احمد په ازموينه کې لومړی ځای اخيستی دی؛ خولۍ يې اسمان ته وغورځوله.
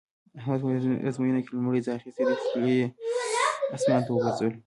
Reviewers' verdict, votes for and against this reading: rejected, 1, 2